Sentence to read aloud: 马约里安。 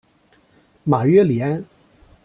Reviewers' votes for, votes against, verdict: 2, 0, accepted